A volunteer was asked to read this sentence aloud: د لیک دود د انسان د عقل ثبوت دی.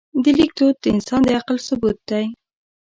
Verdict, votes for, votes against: rejected, 0, 2